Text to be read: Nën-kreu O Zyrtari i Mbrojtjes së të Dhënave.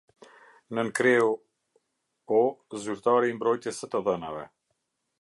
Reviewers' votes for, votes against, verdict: 2, 0, accepted